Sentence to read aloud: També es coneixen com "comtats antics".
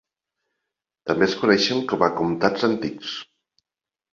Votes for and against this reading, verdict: 1, 2, rejected